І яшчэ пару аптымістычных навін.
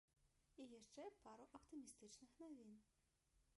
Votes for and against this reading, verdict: 0, 3, rejected